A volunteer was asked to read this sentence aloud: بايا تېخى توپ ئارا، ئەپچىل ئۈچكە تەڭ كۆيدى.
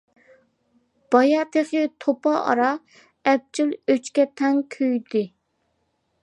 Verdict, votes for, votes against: rejected, 0, 2